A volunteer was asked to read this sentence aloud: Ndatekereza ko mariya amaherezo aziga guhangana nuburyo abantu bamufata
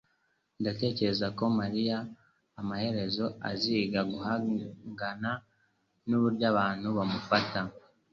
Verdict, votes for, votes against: accepted, 3, 0